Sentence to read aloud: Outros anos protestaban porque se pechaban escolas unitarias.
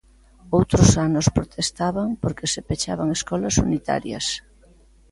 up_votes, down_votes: 2, 0